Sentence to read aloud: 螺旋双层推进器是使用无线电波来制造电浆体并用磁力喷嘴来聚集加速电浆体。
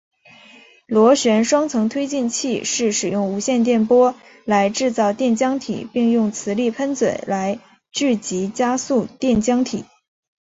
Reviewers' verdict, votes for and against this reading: accepted, 2, 1